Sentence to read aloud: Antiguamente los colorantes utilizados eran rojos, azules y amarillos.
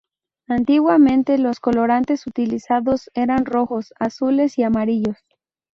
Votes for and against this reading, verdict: 4, 0, accepted